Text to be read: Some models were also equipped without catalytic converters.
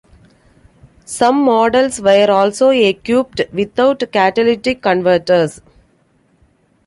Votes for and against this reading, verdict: 2, 1, accepted